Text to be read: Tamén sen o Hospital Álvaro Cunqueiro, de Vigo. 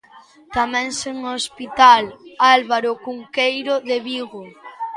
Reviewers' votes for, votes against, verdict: 1, 2, rejected